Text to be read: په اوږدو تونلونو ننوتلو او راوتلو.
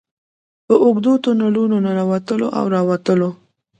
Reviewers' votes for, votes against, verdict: 0, 2, rejected